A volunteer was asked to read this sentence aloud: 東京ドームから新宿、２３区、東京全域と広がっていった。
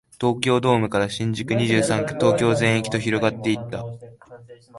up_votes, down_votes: 0, 2